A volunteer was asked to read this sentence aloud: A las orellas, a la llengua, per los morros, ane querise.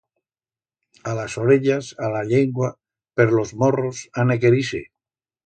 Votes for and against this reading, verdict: 2, 0, accepted